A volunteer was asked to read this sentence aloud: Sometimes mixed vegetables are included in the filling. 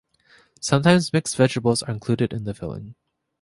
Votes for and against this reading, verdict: 2, 0, accepted